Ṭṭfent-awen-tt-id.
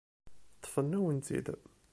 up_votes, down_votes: 1, 2